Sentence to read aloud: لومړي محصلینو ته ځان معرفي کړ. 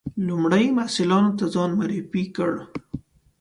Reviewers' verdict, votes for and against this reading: accepted, 2, 0